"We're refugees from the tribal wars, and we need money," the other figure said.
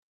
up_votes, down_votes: 0, 2